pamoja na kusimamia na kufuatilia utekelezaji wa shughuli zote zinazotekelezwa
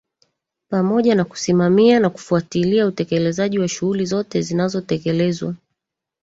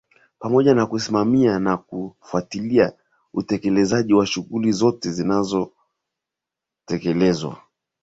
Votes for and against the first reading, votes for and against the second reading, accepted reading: 1, 2, 2, 0, second